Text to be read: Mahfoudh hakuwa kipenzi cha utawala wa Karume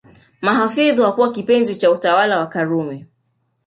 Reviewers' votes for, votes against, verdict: 2, 0, accepted